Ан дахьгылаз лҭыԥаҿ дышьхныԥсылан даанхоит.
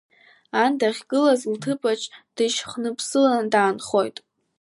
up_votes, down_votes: 2, 0